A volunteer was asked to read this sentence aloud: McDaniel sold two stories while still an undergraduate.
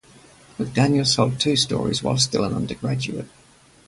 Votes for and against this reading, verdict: 2, 0, accepted